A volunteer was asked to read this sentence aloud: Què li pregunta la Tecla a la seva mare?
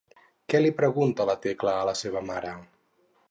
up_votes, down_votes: 4, 0